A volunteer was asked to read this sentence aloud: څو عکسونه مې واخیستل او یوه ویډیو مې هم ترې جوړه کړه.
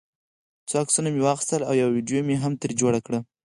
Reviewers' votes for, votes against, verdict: 0, 4, rejected